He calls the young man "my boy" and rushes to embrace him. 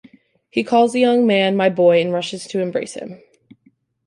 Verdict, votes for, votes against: accepted, 2, 0